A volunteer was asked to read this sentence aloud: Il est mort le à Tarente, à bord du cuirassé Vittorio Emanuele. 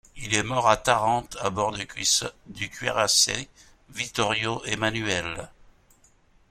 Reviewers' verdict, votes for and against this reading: rejected, 0, 2